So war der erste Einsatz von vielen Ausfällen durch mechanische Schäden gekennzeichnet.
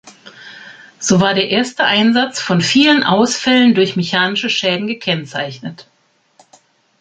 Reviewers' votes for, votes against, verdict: 3, 0, accepted